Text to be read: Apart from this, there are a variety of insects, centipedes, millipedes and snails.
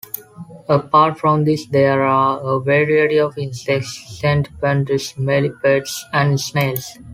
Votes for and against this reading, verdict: 2, 1, accepted